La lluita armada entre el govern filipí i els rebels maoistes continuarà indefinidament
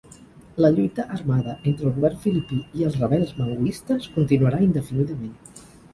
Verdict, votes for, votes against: rejected, 2, 4